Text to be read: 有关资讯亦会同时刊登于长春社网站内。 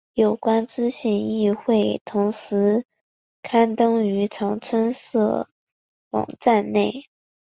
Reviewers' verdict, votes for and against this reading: accepted, 2, 1